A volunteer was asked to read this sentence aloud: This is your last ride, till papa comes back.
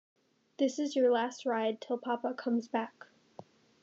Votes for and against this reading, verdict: 2, 0, accepted